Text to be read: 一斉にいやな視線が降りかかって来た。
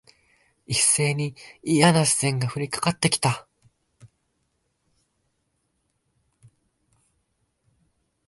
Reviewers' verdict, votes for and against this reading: rejected, 1, 2